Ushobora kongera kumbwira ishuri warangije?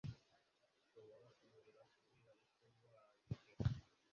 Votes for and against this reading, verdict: 1, 2, rejected